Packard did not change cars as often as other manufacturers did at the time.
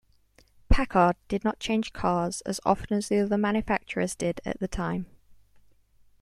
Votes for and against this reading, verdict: 2, 0, accepted